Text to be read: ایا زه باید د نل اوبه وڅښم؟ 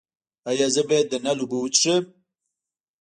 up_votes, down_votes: 1, 2